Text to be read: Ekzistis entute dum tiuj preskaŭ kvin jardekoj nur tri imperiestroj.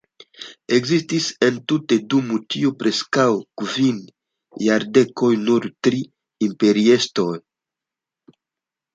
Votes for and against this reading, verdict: 2, 0, accepted